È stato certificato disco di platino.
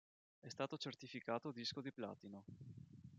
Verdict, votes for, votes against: rejected, 1, 2